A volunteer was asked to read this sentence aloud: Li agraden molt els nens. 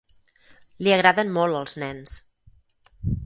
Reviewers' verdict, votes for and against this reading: accepted, 4, 0